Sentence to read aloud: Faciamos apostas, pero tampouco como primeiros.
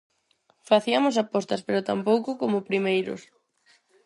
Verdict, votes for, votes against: rejected, 0, 4